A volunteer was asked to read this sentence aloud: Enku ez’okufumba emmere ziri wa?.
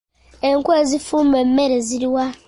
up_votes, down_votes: 0, 2